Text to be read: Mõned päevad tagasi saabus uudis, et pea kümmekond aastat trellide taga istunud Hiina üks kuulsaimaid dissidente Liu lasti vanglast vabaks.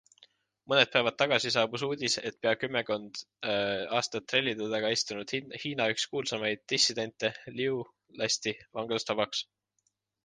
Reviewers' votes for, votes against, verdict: 2, 1, accepted